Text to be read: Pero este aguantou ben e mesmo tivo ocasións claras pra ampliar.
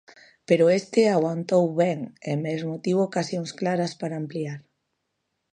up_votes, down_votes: 1, 2